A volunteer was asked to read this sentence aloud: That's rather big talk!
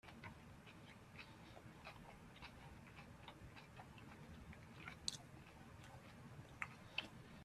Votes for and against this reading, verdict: 0, 2, rejected